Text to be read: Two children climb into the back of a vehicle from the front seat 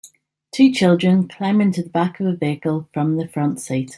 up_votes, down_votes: 3, 0